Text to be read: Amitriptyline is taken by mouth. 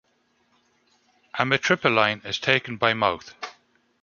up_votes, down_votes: 1, 2